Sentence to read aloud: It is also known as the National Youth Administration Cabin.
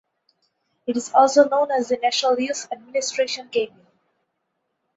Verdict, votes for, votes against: accepted, 4, 0